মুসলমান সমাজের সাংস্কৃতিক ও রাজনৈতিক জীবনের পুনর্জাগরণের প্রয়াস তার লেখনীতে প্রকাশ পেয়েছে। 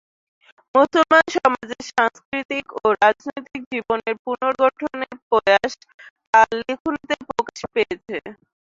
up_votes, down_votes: 0, 2